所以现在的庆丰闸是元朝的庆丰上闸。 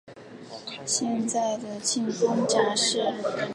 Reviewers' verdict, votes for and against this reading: accepted, 2, 1